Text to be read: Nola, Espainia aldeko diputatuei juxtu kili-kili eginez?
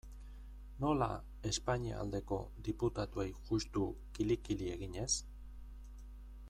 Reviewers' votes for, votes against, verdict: 2, 1, accepted